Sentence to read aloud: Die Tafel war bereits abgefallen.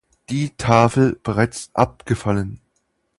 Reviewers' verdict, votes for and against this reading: rejected, 0, 2